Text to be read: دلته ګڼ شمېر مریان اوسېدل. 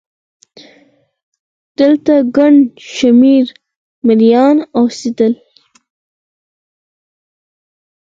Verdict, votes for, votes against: rejected, 2, 4